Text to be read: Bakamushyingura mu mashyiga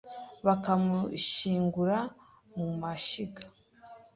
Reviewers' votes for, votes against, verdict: 2, 0, accepted